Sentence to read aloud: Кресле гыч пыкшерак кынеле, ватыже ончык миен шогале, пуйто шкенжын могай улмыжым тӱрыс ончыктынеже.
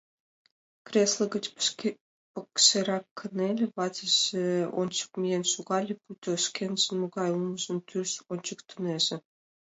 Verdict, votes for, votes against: accepted, 2, 1